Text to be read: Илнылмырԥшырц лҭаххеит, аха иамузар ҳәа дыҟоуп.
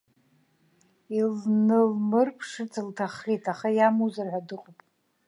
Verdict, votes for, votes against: rejected, 1, 2